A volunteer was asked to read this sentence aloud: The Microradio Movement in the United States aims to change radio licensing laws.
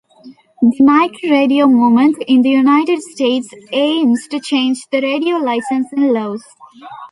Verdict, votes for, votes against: accepted, 2, 0